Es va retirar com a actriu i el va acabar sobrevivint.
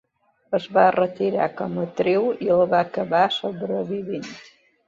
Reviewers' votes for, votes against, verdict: 0, 2, rejected